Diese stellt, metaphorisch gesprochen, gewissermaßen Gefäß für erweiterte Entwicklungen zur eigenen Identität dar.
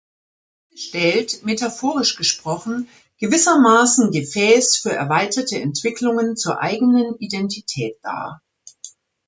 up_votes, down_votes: 0, 2